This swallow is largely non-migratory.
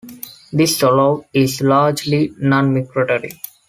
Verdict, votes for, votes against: accepted, 2, 0